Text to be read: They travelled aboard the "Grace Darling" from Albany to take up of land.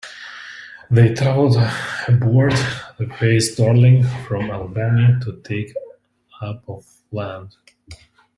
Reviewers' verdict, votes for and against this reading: rejected, 0, 2